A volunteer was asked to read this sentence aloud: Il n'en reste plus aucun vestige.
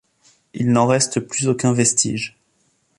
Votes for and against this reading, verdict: 2, 0, accepted